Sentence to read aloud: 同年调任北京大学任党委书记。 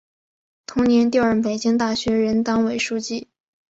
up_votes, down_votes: 4, 1